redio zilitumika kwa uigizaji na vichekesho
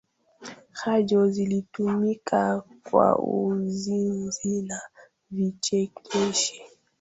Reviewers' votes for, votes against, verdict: 0, 2, rejected